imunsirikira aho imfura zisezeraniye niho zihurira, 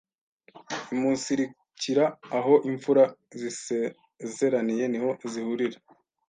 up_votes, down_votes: 2, 0